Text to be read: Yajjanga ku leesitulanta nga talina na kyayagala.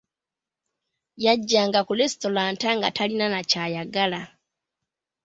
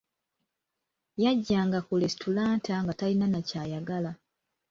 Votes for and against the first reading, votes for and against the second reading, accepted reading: 2, 1, 1, 2, first